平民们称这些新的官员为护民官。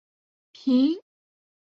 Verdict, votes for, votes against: rejected, 0, 2